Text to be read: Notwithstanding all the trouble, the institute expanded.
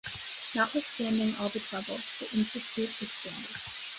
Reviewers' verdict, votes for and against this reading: rejected, 1, 2